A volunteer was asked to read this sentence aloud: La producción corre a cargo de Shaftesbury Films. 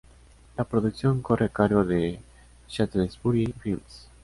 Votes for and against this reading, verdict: 2, 0, accepted